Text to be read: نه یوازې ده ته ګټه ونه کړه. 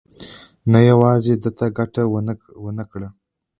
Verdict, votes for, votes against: accepted, 2, 1